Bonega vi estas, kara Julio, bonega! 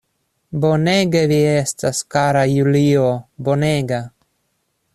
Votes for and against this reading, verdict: 0, 2, rejected